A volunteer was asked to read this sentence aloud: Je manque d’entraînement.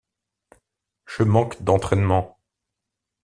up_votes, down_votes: 2, 0